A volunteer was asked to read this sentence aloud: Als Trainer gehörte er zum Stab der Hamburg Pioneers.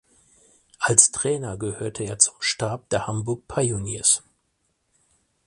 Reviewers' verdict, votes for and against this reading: accepted, 4, 0